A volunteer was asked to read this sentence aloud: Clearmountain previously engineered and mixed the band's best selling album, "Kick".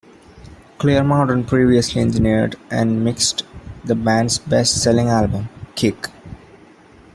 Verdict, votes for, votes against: accepted, 2, 1